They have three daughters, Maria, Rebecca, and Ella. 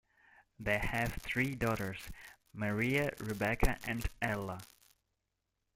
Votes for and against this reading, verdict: 0, 2, rejected